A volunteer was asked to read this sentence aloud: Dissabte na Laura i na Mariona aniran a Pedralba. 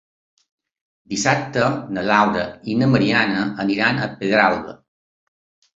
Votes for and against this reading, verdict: 1, 3, rejected